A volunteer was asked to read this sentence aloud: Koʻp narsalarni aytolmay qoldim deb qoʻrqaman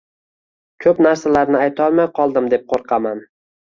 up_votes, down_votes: 2, 0